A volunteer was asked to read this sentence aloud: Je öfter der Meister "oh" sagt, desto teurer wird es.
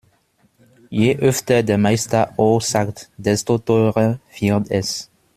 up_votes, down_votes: 2, 0